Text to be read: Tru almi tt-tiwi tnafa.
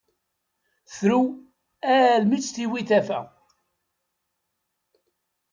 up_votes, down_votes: 2, 3